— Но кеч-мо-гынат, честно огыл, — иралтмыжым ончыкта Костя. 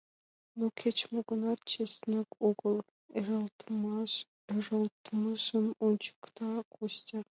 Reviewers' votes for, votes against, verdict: 2, 1, accepted